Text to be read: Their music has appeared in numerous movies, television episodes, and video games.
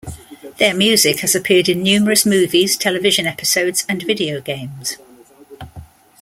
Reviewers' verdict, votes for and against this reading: accepted, 2, 0